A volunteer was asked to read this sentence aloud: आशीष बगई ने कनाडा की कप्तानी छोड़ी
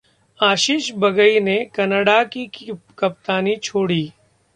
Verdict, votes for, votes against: accepted, 2, 0